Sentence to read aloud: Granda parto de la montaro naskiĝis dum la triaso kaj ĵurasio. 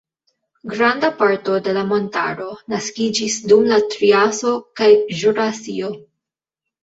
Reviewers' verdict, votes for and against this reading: rejected, 1, 2